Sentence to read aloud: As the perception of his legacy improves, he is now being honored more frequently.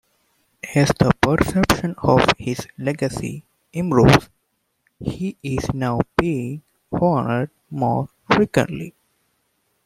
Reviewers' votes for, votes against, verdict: 1, 2, rejected